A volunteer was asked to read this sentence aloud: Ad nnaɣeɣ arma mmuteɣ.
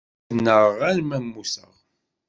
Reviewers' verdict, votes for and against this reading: rejected, 1, 2